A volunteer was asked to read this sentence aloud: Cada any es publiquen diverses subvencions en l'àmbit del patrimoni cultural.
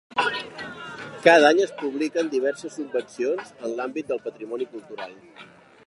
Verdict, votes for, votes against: accepted, 2, 1